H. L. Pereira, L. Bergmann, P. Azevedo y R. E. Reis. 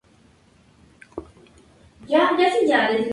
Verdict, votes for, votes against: rejected, 0, 2